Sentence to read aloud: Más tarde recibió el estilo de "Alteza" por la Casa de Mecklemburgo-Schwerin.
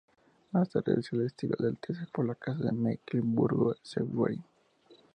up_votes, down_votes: 0, 2